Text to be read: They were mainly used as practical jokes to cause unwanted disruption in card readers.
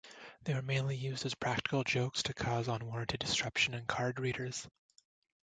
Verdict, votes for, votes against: rejected, 1, 2